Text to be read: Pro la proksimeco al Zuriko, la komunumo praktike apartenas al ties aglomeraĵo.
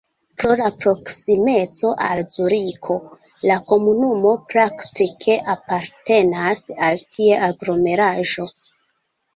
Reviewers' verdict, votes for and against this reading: rejected, 0, 2